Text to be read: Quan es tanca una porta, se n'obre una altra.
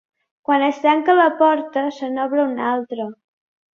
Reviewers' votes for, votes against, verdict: 0, 2, rejected